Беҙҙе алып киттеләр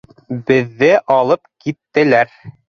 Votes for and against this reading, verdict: 2, 0, accepted